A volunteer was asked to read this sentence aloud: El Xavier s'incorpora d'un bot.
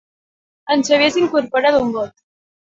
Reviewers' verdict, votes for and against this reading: rejected, 0, 4